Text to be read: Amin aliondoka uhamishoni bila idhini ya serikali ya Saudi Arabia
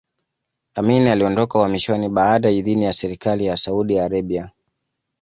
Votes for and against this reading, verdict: 2, 0, accepted